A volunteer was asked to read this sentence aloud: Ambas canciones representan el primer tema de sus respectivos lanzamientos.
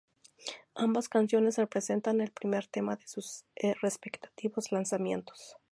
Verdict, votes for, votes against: rejected, 0, 2